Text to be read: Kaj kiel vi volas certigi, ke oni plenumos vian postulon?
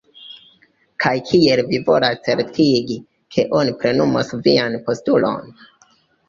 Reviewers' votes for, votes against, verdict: 2, 1, accepted